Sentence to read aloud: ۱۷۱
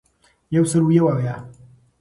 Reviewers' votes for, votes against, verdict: 0, 2, rejected